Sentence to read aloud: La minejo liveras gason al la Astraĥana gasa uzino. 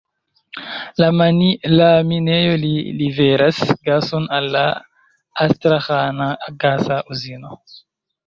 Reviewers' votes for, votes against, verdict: 1, 2, rejected